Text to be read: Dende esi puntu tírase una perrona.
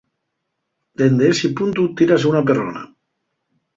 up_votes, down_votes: 4, 0